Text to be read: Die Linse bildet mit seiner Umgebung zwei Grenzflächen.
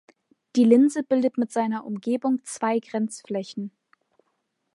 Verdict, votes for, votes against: accepted, 2, 0